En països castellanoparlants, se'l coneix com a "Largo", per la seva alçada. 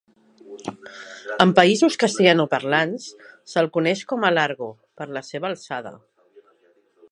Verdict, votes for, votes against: accepted, 2, 0